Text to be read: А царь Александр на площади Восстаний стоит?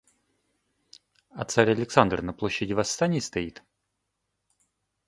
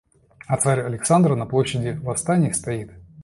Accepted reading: first